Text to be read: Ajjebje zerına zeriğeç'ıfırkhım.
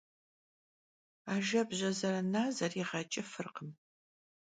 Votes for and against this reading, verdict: 2, 0, accepted